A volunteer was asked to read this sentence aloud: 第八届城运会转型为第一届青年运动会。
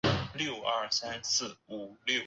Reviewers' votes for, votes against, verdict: 2, 0, accepted